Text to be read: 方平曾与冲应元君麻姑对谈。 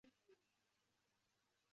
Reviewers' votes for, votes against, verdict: 0, 3, rejected